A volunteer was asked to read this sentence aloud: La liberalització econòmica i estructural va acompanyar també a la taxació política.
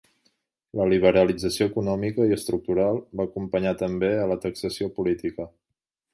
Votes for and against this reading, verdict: 3, 0, accepted